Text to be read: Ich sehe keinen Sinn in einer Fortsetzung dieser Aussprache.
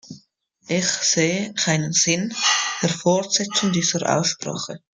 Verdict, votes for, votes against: rejected, 1, 2